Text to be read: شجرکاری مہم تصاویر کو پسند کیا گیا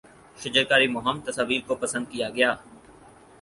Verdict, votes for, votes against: accepted, 4, 0